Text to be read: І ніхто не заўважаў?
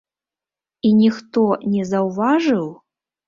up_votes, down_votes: 0, 2